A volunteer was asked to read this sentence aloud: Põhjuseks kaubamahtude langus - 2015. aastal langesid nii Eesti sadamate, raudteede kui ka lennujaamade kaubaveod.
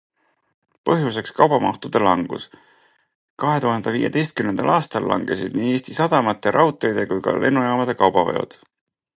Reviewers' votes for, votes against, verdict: 0, 2, rejected